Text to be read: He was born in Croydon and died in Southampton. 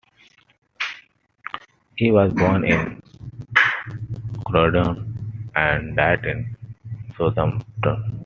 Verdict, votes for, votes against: rejected, 0, 2